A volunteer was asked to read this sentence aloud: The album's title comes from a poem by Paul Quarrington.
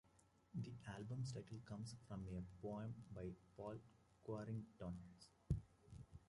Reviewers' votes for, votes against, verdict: 0, 2, rejected